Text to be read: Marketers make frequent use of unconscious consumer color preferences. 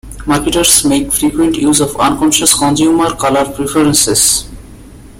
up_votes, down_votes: 2, 0